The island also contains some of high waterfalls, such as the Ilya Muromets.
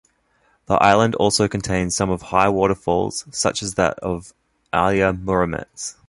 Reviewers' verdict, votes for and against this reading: rejected, 0, 2